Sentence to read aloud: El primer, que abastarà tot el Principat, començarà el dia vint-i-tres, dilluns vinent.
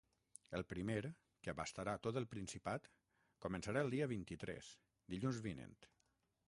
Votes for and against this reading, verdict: 0, 3, rejected